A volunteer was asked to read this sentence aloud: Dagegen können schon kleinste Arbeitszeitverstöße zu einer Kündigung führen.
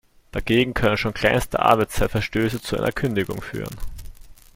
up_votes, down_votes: 2, 0